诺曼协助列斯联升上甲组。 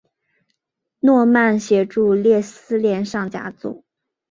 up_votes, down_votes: 3, 2